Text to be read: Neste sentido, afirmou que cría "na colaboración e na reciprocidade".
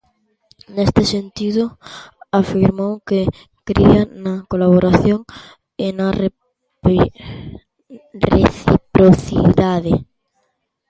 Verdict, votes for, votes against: rejected, 0, 2